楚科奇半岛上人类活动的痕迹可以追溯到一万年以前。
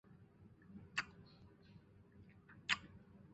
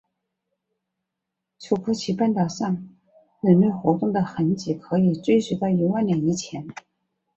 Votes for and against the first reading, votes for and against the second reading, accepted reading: 0, 2, 2, 1, second